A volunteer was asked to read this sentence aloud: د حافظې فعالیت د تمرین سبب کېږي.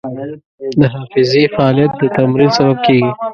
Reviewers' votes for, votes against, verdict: 0, 2, rejected